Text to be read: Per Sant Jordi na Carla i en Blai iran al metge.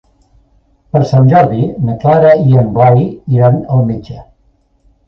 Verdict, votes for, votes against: accepted, 2, 1